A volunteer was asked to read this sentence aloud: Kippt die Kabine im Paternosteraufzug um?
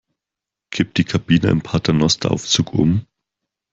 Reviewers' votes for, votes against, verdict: 4, 0, accepted